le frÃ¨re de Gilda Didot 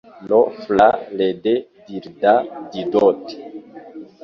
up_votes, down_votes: 1, 2